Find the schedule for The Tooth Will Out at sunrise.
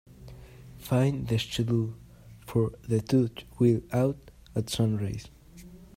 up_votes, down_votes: 1, 2